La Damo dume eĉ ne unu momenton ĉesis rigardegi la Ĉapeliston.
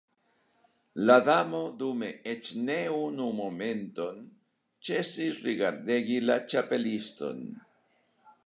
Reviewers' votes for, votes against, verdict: 2, 1, accepted